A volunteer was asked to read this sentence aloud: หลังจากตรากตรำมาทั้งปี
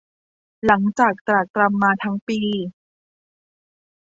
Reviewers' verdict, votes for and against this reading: accepted, 2, 0